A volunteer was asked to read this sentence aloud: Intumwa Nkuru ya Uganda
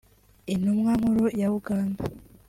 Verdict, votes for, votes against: accepted, 2, 1